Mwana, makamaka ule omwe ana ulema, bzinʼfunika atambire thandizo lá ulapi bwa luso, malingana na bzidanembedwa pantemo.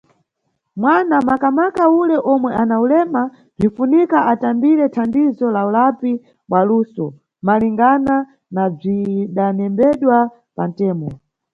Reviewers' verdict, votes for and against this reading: rejected, 1, 2